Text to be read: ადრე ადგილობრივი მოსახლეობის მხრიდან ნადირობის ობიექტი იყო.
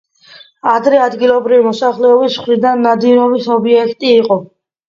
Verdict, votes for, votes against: accepted, 2, 0